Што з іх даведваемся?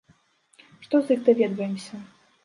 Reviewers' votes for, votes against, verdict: 3, 0, accepted